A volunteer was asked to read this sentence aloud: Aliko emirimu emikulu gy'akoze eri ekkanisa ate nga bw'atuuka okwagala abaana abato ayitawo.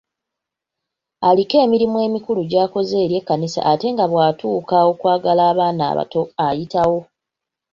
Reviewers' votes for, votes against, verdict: 2, 0, accepted